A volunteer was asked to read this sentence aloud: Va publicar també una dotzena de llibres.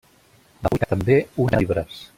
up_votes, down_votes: 0, 2